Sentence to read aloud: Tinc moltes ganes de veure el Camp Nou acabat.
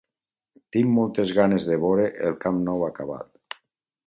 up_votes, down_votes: 4, 0